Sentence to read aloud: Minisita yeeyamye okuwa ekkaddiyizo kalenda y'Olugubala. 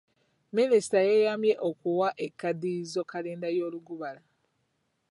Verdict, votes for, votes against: accepted, 2, 0